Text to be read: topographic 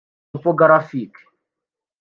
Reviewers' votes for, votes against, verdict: 0, 2, rejected